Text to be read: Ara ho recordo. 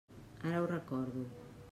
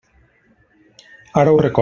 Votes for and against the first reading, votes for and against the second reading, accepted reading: 3, 0, 0, 2, first